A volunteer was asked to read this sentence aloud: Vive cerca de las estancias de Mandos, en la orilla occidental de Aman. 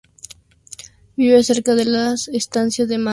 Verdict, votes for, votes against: rejected, 0, 2